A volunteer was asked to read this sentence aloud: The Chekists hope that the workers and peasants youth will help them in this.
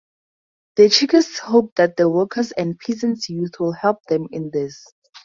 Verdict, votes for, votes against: accepted, 4, 0